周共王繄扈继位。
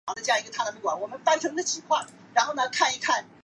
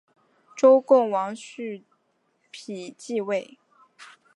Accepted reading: second